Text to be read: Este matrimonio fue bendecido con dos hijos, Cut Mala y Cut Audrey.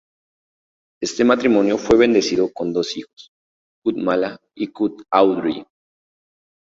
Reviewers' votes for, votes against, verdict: 2, 0, accepted